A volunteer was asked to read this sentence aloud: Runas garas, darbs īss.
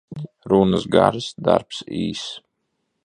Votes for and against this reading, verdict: 2, 0, accepted